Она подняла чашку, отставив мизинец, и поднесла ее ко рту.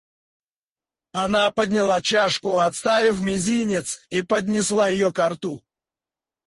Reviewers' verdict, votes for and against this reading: rejected, 0, 4